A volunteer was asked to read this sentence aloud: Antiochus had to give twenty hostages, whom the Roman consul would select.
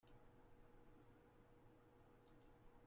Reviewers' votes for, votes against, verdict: 0, 2, rejected